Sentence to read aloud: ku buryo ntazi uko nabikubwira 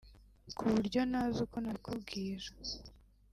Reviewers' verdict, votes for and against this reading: rejected, 1, 2